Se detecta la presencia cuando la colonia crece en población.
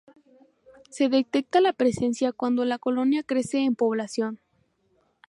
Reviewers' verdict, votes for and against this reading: accepted, 2, 0